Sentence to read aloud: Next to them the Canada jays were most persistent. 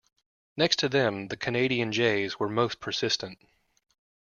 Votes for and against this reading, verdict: 0, 2, rejected